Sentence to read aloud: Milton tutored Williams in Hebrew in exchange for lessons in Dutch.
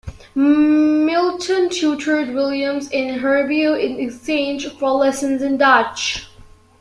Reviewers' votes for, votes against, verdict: 1, 2, rejected